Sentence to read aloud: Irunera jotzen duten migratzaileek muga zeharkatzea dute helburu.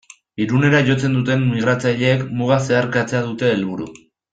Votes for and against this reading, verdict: 2, 0, accepted